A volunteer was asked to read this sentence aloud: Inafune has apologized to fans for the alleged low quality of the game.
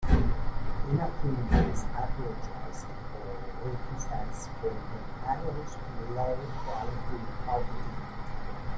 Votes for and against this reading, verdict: 0, 2, rejected